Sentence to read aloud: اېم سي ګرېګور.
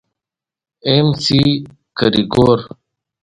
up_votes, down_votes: 2, 0